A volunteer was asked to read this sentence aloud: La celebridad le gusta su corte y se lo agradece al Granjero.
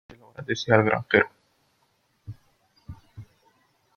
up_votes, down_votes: 0, 2